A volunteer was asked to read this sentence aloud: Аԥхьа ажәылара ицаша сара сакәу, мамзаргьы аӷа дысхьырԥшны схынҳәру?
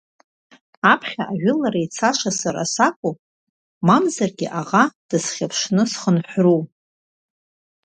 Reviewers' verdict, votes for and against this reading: accepted, 2, 0